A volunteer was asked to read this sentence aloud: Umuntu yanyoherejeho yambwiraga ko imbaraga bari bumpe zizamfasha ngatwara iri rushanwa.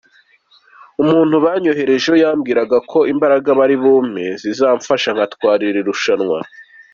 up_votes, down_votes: 2, 0